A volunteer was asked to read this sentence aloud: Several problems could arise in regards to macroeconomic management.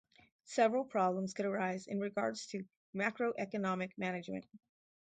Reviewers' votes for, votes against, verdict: 2, 0, accepted